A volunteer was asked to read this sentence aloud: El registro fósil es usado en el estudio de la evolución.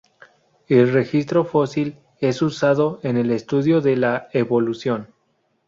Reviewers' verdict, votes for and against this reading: rejected, 0, 2